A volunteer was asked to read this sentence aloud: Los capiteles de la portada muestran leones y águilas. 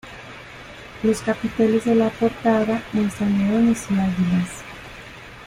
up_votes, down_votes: 2, 0